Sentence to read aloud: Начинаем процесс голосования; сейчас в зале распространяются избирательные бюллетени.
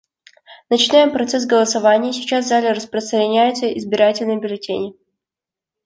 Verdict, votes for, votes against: accepted, 2, 0